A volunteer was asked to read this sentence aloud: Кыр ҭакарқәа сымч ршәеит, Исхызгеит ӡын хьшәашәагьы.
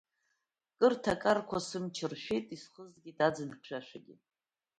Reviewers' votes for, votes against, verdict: 2, 1, accepted